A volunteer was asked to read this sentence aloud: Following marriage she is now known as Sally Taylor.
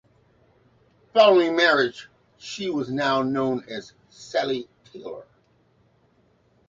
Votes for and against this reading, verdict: 1, 2, rejected